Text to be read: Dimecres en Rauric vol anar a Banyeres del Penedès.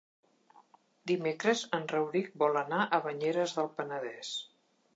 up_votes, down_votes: 3, 0